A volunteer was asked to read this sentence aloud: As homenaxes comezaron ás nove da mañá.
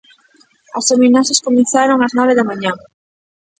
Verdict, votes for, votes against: rejected, 1, 2